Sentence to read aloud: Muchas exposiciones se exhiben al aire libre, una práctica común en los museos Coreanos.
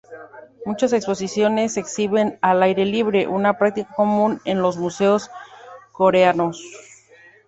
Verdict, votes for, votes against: accepted, 3, 0